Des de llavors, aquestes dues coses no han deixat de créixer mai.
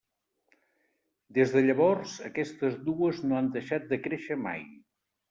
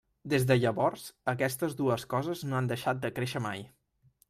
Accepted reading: second